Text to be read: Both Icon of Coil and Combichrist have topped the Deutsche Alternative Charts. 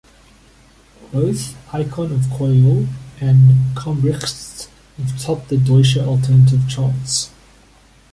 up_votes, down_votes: 0, 2